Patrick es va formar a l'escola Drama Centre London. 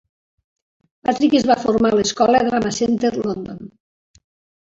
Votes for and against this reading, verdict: 2, 0, accepted